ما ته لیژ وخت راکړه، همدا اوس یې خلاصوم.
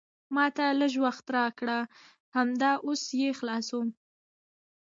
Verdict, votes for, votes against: rejected, 0, 2